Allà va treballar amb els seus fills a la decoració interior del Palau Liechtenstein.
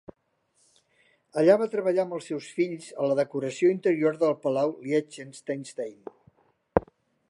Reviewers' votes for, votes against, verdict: 0, 2, rejected